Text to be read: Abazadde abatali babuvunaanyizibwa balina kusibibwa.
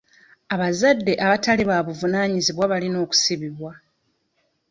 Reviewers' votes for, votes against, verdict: 0, 2, rejected